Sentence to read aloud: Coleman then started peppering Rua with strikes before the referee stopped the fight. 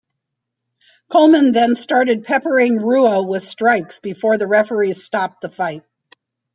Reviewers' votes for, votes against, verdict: 1, 2, rejected